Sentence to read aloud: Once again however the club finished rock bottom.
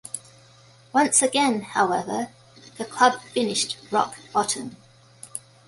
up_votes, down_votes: 2, 0